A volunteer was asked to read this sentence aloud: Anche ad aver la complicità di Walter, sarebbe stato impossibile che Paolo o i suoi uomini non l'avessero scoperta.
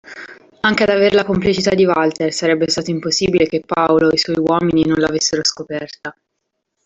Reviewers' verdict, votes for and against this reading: accepted, 2, 0